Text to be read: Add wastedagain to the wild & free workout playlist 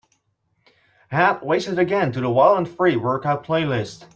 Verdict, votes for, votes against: accepted, 2, 0